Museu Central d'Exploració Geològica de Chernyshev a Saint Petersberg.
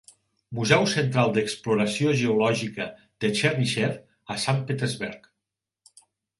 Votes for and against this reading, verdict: 2, 0, accepted